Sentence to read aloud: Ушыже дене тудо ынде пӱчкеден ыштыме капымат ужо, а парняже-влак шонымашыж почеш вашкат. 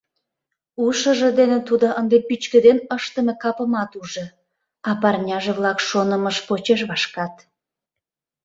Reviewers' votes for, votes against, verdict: 0, 2, rejected